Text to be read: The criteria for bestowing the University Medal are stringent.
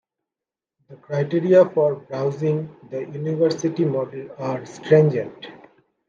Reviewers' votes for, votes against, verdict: 0, 2, rejected